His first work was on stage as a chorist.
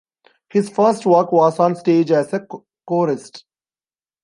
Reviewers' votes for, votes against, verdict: 1, 2, rejected